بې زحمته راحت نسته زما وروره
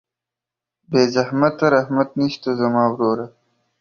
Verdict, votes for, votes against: rejected, 0, 2